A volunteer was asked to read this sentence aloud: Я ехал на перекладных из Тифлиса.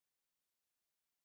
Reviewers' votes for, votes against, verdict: 0, 2, rejected